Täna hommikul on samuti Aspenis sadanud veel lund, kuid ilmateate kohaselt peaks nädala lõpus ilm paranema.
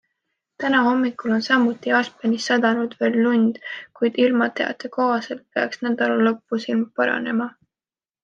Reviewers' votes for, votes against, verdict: 2, 0, accepted